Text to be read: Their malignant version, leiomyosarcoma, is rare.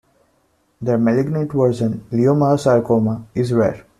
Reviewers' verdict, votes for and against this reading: accepted, 2, 1